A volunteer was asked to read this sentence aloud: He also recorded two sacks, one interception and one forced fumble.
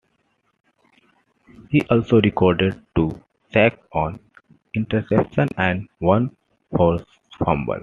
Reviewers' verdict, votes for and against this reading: accepted, 2, 0